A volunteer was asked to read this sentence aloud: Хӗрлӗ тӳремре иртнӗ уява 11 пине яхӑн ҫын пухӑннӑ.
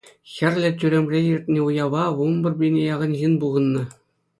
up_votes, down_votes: 0, 2